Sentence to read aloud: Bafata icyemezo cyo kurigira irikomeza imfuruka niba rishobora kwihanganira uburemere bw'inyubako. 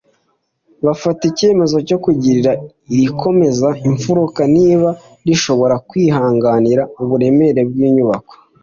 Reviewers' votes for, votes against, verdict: 2, 1, accepted